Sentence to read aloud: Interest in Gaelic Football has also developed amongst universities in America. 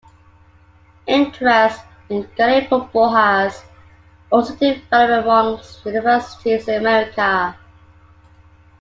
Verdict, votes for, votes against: accepted, 2, 0